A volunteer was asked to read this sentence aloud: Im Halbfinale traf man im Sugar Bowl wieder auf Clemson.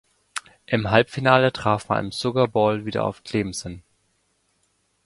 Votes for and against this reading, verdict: 1, 3, rejected